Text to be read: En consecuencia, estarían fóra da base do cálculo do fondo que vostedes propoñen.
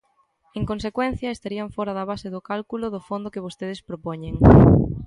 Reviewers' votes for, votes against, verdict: 2, 0, accepted